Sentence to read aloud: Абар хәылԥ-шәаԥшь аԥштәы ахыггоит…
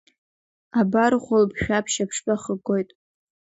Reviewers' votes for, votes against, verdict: 2, 1, accepted